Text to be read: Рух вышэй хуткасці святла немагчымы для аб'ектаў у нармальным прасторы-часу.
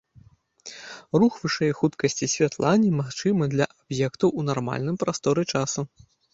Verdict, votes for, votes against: rejected, 1, 2